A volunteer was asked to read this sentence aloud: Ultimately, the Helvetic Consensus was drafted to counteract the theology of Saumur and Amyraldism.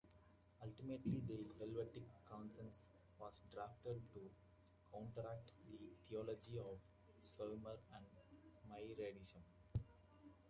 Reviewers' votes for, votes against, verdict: 0, 2, rejected